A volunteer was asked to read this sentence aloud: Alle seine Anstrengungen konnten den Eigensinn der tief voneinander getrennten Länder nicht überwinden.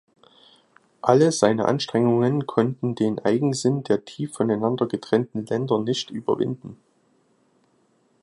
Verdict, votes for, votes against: accepted, 2, 0